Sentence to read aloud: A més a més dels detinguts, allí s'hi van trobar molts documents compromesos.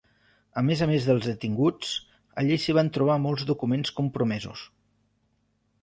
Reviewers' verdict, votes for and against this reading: accepted, 3, 0